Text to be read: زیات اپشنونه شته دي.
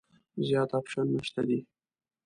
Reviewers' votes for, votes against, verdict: 2, 0, accepted